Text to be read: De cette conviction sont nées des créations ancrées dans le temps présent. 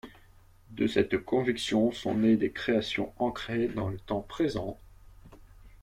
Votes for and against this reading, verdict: 2, 0, accepted